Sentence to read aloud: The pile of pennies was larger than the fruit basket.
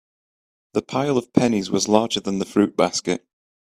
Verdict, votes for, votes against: accepted, 4, 0